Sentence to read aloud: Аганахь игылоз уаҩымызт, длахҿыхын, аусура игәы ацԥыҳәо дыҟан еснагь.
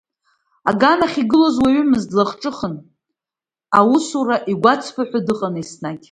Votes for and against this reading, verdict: 2, 0, accepted